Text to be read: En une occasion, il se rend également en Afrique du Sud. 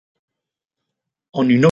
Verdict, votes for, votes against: rejected, 0, 2